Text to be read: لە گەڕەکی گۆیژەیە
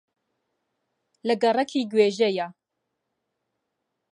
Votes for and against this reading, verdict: 0, 3, rejected